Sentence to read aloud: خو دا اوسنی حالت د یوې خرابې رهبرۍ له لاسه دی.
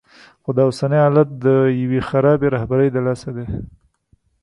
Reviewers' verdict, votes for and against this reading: rejected, 1, 2